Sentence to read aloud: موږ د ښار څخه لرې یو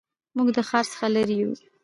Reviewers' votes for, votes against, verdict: 0, 2, rejected